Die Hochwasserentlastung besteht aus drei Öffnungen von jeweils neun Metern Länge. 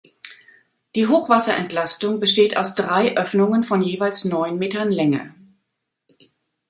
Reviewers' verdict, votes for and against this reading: accepted, 2, 0